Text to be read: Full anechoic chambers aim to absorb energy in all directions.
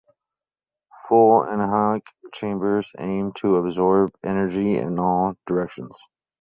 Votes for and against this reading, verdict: 0, 4, rejected